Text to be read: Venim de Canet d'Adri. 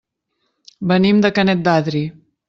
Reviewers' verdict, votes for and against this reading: accepted, 3, 0